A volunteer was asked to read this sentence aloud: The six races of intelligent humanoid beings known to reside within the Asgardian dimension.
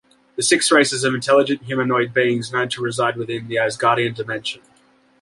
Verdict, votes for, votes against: accepted, 2, 0